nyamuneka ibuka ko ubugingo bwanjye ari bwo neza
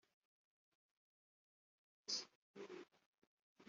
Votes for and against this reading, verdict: 0, 2, rejected